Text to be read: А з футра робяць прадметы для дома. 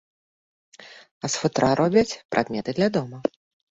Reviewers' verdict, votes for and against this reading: rejected, 1, 2